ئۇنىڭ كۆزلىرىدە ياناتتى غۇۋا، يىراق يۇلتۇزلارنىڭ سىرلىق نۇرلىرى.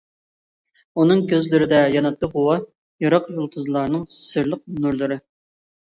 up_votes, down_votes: 2, 0